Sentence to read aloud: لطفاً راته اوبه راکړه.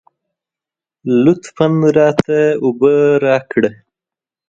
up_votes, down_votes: 2, 0